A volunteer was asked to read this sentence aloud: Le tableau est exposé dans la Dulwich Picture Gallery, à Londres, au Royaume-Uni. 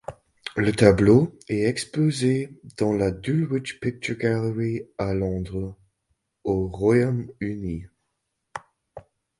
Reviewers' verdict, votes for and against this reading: accepted, 2, 0